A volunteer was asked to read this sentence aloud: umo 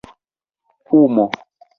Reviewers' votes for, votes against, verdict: 1, 2, rejected